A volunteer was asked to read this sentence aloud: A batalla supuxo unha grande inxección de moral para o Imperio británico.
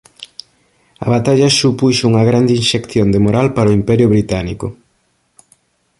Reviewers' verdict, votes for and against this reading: accepted, 2, 0